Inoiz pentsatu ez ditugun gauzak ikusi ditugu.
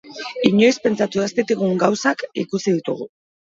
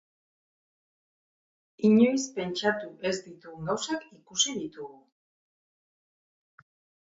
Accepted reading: second